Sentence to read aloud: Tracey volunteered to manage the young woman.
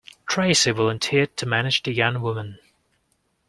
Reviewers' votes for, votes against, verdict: 2, 0, accepted